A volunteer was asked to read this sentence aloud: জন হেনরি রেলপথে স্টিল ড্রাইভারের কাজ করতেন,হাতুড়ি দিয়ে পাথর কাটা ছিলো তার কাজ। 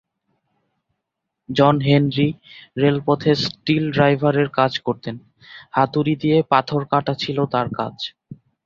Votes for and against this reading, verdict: 5, 0, accepted